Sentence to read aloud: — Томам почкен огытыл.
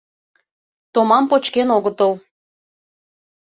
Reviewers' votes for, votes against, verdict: 2, 0, accepted